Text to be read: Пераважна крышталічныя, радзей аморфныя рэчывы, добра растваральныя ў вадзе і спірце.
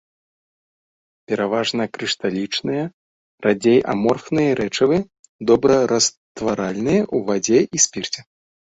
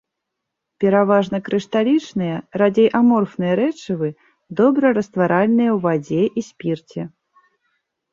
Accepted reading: second